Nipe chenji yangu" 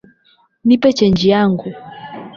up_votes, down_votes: 16, 0